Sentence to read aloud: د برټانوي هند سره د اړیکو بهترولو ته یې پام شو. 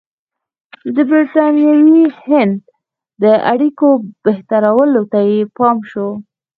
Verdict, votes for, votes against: rejected, 1, 2